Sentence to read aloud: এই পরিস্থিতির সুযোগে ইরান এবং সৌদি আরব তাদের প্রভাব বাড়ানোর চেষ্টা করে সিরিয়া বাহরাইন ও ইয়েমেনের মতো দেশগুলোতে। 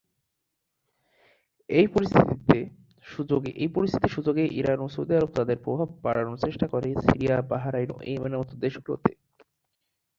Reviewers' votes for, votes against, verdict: 0, 2, rejected